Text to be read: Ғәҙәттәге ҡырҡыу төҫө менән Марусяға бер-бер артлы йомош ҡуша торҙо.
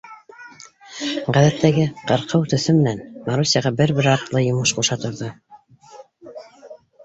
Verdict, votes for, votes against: rejected, 0, 2